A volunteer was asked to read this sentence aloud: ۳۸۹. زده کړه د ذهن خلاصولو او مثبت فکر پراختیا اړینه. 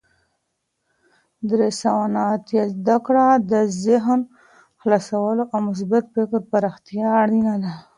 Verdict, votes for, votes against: rejected, 0, 2